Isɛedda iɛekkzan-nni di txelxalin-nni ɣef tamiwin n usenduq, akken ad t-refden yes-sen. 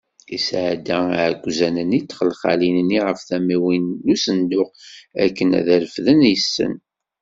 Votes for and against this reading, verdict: 2, 0, accepted